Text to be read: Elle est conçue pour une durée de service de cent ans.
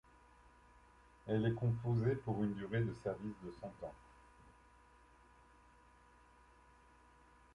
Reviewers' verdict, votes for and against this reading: rejected, 0, 2